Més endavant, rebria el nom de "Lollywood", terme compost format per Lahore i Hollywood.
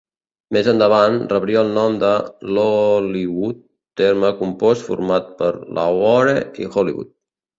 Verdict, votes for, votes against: accepted, 5, 1